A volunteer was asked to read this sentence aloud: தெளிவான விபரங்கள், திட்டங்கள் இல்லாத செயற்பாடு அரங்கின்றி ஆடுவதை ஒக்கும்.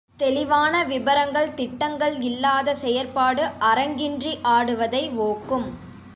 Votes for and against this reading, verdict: 1, 2, rejected